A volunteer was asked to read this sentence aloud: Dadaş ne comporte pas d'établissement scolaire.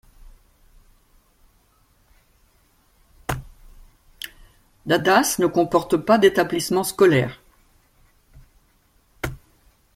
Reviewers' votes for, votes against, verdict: 1, 2, rejected